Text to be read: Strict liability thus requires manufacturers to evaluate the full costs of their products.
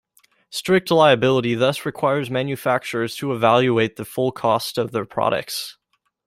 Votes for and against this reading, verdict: 0, 2, rejected